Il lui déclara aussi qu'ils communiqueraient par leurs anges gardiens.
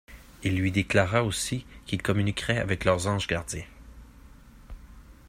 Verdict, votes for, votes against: rejected, 1, 2